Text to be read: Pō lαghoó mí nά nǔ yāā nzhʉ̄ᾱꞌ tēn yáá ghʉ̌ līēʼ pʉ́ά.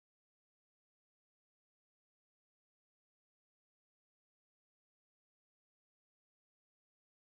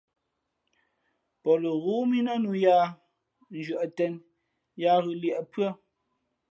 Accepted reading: second